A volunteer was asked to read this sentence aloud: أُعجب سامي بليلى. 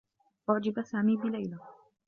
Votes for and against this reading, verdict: 2, 0, accepted